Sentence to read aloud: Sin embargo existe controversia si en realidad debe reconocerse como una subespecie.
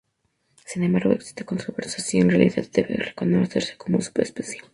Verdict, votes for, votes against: rejected, 2, 2